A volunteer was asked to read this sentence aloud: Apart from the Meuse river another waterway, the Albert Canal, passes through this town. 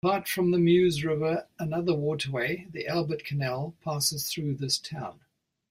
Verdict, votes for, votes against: accepted, 2, 0